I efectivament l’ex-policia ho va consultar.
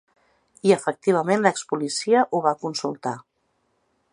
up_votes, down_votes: 3, 0